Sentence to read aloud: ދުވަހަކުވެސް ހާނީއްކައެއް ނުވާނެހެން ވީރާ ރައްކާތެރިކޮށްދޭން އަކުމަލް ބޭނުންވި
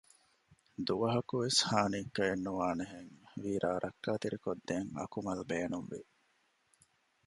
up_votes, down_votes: 2, 0